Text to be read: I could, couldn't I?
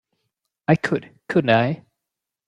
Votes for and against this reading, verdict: 1, 2, rejected